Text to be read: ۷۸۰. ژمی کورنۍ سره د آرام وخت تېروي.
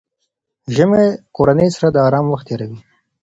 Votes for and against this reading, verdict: 0, 2, rejected